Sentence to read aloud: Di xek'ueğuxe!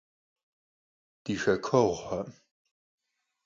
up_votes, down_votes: 4, 0